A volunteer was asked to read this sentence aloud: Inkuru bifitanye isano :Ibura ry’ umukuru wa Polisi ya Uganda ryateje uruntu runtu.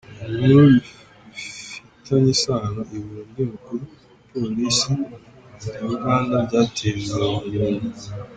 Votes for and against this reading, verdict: 0, 3, rejected